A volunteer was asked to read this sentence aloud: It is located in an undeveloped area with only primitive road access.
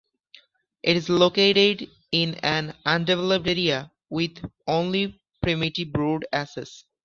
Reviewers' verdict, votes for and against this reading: accepted, 2, 1